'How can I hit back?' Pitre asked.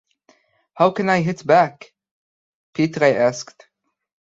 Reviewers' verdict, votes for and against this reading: accepted, 2, 0